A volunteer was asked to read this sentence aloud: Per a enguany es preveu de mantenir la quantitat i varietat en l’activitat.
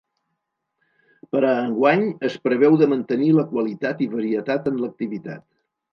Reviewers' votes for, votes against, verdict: 2, 4, rejected